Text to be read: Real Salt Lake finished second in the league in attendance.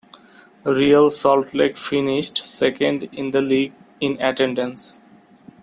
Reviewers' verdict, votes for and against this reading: accepted, 2, 0